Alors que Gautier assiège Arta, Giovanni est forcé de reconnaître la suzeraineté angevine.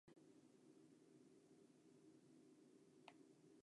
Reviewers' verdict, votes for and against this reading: rejected, 0, 2